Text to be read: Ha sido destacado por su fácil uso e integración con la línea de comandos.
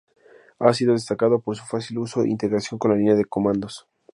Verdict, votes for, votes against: accepted, 2, 0